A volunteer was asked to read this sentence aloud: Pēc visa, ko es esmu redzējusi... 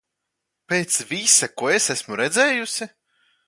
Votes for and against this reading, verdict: 2, 0, accepted